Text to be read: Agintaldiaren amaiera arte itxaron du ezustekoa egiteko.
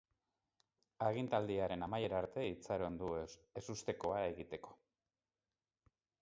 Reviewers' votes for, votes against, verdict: 2, 2, rejected